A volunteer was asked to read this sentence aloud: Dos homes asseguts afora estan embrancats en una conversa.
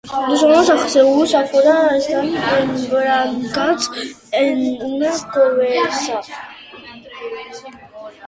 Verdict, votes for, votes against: rejected, 0, 2